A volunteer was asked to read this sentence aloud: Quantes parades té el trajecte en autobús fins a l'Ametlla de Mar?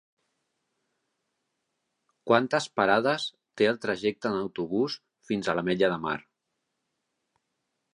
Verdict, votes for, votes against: rejected, 2, 3